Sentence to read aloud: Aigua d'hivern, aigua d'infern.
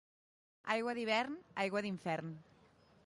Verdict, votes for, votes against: accepted, 2, 0